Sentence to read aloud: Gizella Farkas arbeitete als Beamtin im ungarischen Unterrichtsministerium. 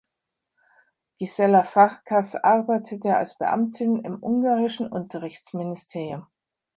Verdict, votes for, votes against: rejected, 1, 2